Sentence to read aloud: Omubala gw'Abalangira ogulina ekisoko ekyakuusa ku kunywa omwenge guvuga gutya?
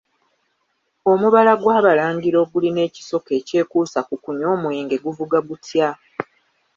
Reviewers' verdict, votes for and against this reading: accepted, 2, 0